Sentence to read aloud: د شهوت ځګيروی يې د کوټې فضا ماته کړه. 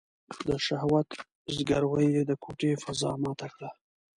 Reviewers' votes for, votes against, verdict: 0, 2, rejected